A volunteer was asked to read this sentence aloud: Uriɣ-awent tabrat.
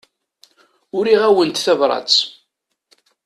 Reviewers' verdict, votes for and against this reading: accepted, 2, 0